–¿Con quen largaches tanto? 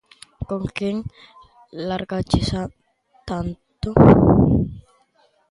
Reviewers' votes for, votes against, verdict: 0, 2, rejected